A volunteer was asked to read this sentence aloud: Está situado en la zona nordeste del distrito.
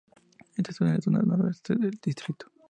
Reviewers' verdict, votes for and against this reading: rejected, 0, 2